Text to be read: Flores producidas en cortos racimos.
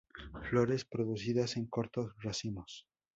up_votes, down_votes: 2, 0